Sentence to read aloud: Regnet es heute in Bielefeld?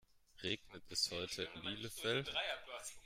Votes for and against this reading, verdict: 2, 0, accepted